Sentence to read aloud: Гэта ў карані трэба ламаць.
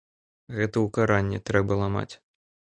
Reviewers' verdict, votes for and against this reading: rejected, 0, 2